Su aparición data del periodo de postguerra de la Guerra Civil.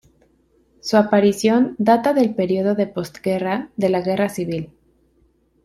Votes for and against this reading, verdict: 2, 0, accepted